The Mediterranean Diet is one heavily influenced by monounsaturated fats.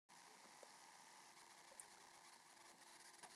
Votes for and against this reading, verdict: 0, 2, rejected